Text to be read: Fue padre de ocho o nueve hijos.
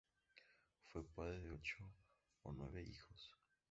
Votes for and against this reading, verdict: 2, 0, accepted